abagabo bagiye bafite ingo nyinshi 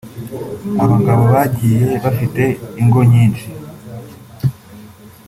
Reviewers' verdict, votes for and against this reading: accepted, 2, 0